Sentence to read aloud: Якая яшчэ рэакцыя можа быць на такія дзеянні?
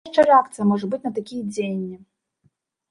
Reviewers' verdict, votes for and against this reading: rejected, 0, 2